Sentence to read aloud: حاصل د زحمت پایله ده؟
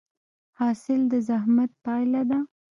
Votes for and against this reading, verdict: 0, 2, rejected